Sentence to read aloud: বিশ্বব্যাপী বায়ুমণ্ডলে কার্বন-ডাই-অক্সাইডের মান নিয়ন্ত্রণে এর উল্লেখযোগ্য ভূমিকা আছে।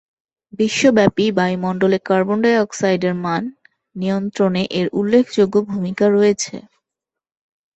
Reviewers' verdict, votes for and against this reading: rejected, 0, 2